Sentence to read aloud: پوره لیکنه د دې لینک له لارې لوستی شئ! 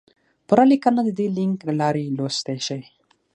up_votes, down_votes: 6, 0